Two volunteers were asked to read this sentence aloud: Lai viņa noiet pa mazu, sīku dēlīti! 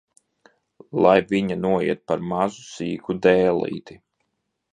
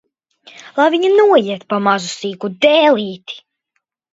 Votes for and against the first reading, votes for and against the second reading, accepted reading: 1, 2, 2, 1, second